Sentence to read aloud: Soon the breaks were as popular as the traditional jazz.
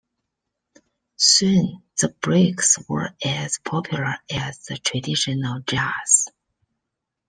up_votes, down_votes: 2, 0